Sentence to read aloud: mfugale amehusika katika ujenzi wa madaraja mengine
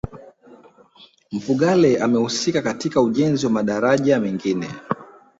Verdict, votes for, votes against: accepted, 2, 0